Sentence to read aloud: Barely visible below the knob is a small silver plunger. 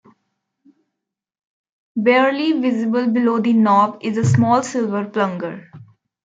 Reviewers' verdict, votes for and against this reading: accepted, 2, 1